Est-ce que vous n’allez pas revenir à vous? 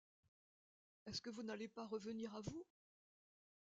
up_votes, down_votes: 2, 1